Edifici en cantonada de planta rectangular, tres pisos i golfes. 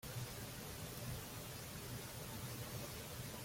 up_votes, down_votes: 0, 2